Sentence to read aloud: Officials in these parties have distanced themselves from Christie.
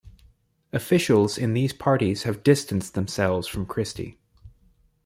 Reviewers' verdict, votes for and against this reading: accepted, 2, 0